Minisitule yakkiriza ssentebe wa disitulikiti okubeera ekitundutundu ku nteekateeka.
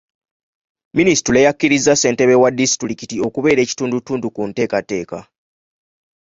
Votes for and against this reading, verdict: 2, 0, accepted